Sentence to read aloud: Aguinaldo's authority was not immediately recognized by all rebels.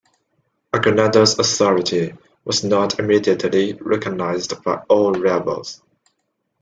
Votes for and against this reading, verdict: 2, 1, accepted